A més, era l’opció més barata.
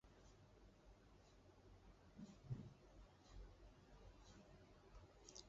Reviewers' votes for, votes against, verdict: 0, 2, rejected